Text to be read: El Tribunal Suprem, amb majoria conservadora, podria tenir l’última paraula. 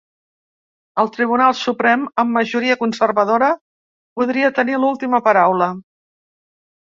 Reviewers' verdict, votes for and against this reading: accepted, 3, 0